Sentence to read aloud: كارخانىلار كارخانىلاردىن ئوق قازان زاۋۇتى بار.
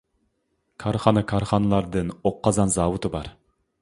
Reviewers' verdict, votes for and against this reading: rejected, 0, 2